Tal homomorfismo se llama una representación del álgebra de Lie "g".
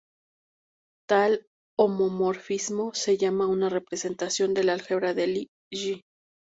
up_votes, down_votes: 2, 2